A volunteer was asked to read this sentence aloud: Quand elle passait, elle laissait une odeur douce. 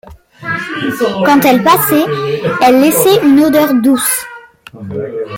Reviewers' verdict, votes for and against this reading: accepted, 2, 0